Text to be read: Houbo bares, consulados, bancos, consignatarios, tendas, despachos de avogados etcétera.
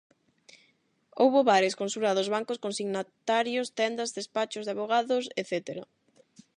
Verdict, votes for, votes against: rejected, 4, 4